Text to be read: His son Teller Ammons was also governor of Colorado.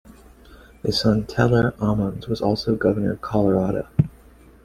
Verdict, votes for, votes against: accepted, 2, 0